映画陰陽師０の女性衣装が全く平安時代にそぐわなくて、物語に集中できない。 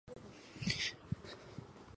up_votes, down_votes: 0, 2